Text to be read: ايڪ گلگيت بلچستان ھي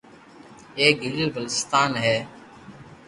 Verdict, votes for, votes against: accepted, 2, 0